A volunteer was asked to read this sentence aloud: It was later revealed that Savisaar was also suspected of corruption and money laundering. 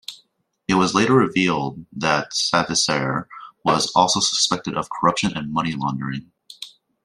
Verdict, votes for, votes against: accepted, 2, 0